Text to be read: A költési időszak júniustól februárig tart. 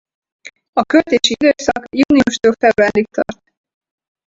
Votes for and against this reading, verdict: 2, 4, rejected